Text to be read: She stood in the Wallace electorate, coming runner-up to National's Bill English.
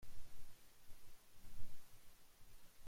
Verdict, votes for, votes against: rejected, 1, 2